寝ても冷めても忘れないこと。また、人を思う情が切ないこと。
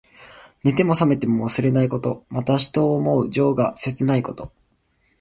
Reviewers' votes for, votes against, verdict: 2, 1, accepted